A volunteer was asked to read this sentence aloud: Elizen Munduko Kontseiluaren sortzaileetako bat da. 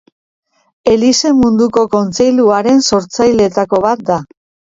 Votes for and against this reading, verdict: 2, 0, accepted